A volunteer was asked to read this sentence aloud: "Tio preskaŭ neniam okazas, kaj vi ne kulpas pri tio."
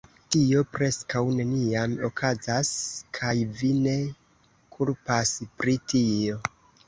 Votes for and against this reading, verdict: 2, 0, accepted